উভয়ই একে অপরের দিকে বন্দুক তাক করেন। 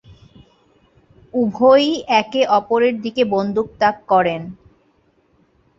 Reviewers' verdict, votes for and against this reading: accepted, 3, 0